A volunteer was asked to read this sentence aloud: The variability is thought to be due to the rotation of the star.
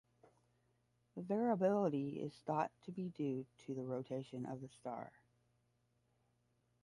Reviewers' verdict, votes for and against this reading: rejected, 5, 5